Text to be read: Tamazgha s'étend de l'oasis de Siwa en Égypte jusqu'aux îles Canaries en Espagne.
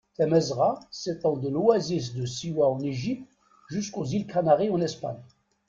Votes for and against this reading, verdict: 0, 2, rejected